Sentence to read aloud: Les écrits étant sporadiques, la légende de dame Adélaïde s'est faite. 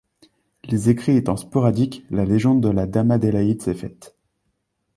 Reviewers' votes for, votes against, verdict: 0, 2, rejected